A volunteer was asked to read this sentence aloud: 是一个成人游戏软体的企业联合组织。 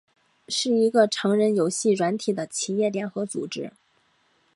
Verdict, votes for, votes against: accepted, 3, 1